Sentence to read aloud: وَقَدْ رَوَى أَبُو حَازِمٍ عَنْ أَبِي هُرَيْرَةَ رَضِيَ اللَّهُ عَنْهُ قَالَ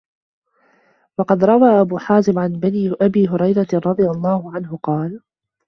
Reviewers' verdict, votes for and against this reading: rejected, 1, 2